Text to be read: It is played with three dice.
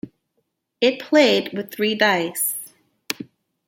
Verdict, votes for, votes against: rejected, 0, 2